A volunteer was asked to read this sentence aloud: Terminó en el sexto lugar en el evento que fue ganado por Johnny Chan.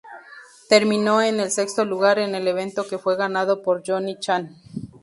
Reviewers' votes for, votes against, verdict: 0, 2, rejected